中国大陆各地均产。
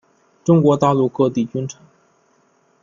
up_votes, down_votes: 0, 2